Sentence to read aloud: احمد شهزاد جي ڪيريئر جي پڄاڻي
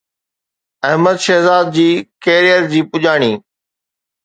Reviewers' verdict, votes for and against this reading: accepted, 2, 0